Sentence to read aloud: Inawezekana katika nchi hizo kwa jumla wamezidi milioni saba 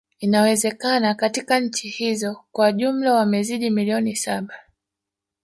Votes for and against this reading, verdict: 0, 2, rejected